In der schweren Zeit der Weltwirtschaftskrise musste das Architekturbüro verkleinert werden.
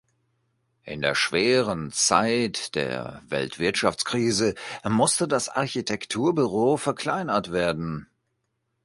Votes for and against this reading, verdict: 2, 0, accepted